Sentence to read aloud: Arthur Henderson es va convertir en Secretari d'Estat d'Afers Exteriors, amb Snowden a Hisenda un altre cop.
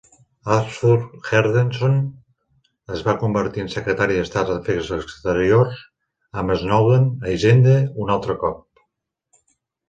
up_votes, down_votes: 2, 0